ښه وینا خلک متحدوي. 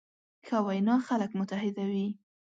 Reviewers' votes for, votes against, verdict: 2, 0, accepted